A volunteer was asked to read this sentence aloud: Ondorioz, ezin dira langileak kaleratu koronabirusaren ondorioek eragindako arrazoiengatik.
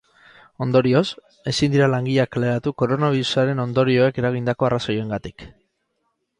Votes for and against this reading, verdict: 2, 2, rejected